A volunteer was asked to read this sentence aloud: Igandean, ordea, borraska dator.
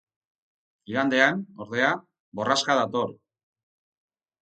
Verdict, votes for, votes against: accepted, 4, 0